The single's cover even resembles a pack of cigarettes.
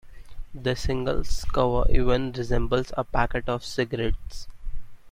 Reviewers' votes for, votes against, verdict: 0, 3, rejected